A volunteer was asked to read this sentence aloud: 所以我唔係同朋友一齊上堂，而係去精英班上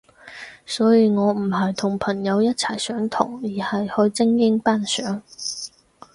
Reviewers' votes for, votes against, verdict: 4, 0, accepted